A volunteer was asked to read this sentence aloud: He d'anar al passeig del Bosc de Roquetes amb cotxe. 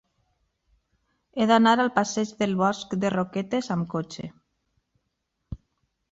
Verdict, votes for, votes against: accepted, 3, 0